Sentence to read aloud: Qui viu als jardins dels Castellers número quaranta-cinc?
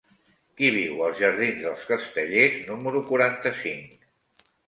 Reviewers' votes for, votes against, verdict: 3, 1, accepted